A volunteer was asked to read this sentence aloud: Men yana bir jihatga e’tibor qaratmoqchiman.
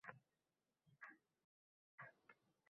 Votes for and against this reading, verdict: 0, 2, rejected